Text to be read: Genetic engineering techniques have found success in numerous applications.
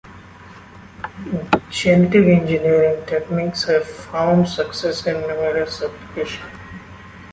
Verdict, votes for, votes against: accepted, 2, 1